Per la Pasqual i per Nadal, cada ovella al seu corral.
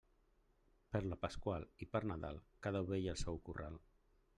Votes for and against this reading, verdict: 2, 1, accepted